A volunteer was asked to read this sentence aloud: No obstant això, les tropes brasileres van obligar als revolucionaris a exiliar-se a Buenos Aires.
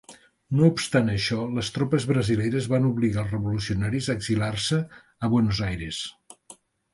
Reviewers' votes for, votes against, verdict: 0, 2, rejected